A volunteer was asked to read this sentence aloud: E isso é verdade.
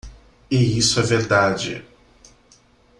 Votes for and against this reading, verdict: 2, 1, accepted